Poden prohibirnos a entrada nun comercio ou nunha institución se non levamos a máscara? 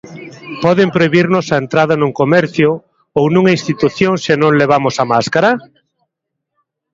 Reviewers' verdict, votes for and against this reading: rejected, 0, 2